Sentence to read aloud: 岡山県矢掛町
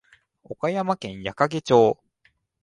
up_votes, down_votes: 2, 0